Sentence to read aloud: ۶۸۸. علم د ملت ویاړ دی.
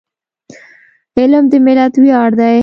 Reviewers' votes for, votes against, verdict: 0, 2, rejected